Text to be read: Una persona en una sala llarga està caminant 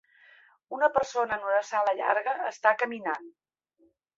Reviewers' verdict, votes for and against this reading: accepted, 3, 0